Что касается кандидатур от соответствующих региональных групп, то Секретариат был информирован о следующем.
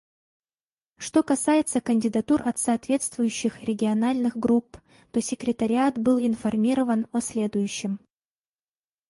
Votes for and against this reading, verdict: 2, 0, accepted